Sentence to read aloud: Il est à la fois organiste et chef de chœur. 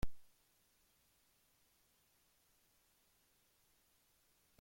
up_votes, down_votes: 0, 2